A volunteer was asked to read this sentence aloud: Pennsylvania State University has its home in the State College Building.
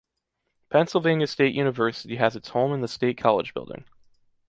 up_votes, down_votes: 2, 0